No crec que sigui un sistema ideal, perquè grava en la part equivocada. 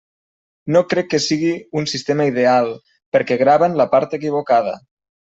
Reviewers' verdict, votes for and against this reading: accepted, 2, 0